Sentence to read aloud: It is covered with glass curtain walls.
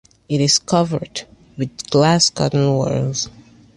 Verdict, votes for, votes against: accepted, 2, 0